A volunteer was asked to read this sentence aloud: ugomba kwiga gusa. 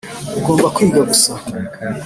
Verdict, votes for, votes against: accepted, 3, 0